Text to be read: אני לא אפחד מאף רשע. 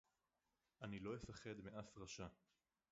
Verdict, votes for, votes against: rejected, 2, 2